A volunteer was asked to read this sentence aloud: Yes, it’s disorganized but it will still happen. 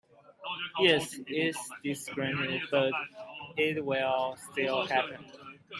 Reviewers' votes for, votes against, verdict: 2, 19, rejected